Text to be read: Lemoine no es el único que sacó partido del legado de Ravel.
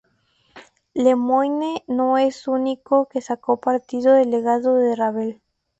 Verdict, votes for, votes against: rejected, 0, 4